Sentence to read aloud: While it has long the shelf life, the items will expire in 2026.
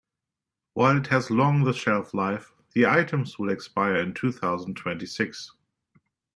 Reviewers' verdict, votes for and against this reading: rejected, 0, 2